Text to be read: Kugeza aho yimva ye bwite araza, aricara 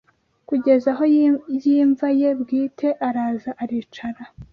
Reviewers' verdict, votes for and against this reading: rejected, 1, 2